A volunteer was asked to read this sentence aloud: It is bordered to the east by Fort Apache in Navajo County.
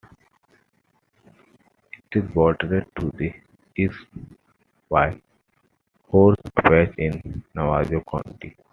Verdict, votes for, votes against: rejected, 1, 2